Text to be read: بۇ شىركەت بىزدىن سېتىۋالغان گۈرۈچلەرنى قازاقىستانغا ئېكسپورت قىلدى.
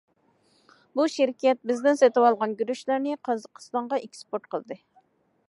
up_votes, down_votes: 2, 0